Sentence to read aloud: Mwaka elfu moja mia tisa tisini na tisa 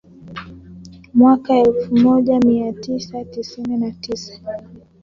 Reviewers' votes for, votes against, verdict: 3, 0, accepted